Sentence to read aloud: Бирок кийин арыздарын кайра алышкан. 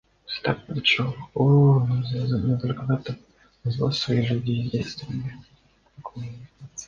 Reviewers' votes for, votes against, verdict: 0, 2, rejected